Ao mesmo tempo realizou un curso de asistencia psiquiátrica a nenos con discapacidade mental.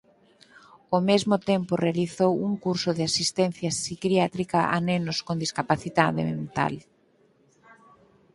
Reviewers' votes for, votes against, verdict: 0, 4, rejected